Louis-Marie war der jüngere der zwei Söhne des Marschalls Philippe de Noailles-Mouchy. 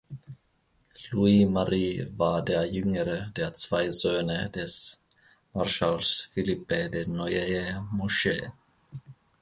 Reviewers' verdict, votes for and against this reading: rejected, 1, 2